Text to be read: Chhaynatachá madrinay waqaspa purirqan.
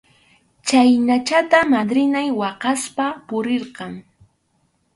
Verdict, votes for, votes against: rejected, 2, 2